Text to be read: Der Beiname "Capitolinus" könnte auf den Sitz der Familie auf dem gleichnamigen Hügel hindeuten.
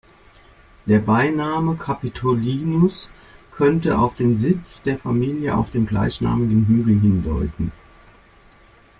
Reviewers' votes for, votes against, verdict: 2, 0, accepted